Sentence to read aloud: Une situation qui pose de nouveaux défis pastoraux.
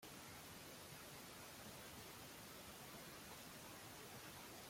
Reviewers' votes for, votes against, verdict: 0, 2, rejected